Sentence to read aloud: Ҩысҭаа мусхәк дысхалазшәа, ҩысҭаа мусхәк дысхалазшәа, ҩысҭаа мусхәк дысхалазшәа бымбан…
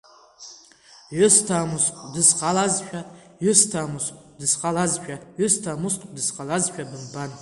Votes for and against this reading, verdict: 2, 1, accepted